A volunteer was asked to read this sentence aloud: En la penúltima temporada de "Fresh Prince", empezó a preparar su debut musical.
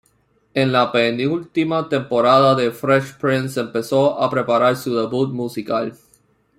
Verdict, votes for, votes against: rejected, 1, 2